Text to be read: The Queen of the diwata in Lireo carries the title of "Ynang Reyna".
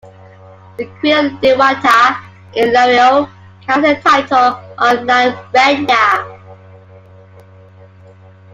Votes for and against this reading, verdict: 0, 2, rejected